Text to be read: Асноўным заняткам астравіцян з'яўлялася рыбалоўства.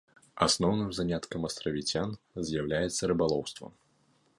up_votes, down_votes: 0, 2